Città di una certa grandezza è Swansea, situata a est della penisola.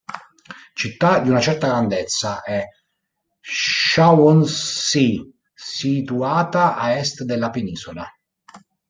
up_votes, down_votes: 0, 2